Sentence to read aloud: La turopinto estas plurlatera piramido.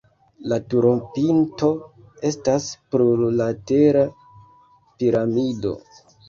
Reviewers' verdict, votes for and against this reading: accepted, 2, 1